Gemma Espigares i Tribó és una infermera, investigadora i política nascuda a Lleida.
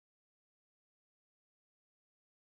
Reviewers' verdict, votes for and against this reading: rejected, 0, 2